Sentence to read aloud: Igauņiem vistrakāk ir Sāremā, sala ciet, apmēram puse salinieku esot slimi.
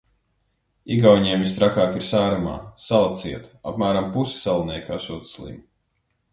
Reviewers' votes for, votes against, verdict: 2, 0, accepted